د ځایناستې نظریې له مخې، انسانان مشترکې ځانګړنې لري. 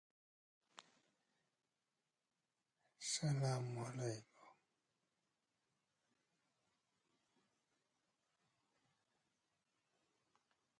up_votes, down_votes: 0, 2